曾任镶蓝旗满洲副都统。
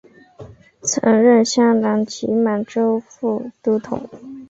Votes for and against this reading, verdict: 2, 0, accepted